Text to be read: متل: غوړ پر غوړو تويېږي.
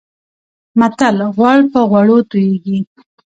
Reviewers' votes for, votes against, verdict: 2, 1, accepted